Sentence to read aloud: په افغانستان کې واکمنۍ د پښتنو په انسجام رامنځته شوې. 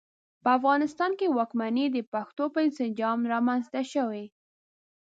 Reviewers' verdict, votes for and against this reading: rejected, 1, 2